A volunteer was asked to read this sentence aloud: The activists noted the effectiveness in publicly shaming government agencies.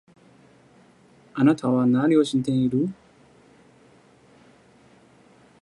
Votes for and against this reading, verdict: 0, 2, rejected